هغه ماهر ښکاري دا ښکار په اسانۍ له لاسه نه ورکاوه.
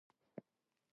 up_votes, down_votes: 0, 2